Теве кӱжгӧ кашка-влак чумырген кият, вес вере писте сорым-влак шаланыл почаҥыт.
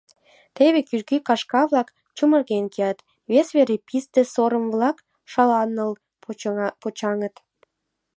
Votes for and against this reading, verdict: 0, 2, rejected